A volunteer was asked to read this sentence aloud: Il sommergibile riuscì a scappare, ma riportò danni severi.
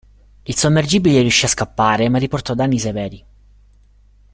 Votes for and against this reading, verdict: 2, 0, accepted